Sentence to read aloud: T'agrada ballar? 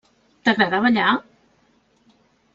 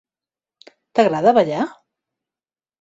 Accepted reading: second